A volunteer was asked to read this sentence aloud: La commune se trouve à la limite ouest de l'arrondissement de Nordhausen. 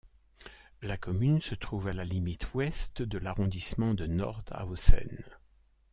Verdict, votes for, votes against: accepted, 2, 0